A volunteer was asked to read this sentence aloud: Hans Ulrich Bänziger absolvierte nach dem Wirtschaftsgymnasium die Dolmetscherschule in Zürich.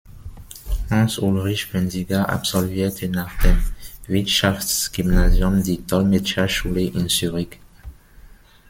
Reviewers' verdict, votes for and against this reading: rejected, 0, 2